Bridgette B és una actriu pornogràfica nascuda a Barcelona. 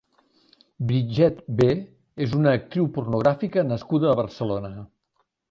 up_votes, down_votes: 1, 2